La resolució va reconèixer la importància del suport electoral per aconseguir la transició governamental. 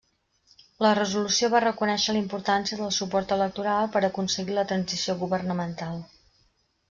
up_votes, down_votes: 2, 0